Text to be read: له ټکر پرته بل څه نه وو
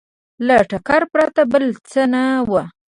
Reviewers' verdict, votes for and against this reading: accepted, 2, 0